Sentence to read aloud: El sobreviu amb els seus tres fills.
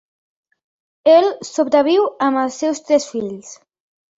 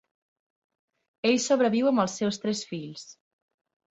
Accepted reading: first